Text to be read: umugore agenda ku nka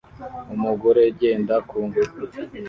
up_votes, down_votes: 1, 2